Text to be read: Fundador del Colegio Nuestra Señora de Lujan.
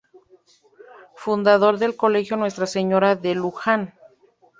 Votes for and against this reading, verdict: 2, 0, accepted